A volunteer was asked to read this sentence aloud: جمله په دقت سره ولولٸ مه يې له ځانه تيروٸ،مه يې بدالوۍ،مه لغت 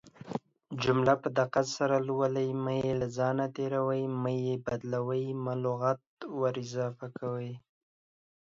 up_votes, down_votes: 1, 2